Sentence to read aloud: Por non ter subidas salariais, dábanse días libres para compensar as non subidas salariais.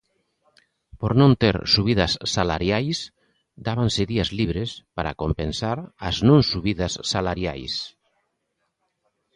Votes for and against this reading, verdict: 2, 0, accepted